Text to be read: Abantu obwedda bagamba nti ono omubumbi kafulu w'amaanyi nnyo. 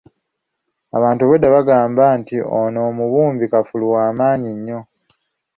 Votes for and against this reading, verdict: 3, 0, accepted